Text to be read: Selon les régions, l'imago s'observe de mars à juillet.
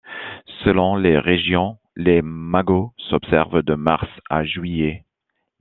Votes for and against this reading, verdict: 2, 0, accepted